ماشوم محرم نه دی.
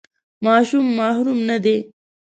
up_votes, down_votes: 1, 2